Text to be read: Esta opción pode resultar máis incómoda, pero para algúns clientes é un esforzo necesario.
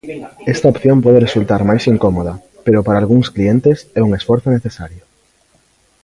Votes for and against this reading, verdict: 2, 0, accepted